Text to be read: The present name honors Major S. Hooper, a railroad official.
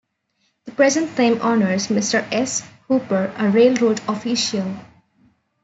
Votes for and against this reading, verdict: 1, 2, rejected